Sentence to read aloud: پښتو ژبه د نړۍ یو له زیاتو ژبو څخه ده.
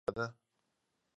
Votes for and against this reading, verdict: 0, 2, rejected